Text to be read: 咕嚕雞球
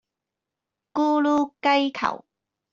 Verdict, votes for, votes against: rejected, 0, 2